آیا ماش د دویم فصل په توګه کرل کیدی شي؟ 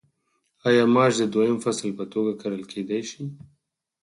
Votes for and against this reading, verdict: 2, 4, rejected